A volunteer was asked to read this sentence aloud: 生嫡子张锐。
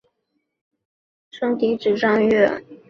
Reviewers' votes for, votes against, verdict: 2, 0, accepted